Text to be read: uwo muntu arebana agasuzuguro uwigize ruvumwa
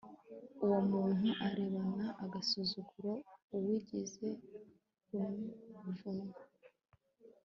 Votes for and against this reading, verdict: 2, 0, accepted